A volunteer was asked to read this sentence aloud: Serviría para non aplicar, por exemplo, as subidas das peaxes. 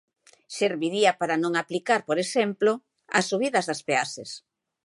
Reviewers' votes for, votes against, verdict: 3, 0, accepted